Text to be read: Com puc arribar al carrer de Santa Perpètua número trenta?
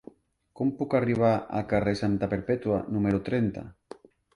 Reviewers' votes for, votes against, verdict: 2, 0, accepted